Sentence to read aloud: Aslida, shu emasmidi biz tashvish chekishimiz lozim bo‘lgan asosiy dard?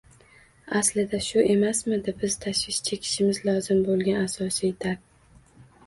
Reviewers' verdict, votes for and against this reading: rejected, 1, 2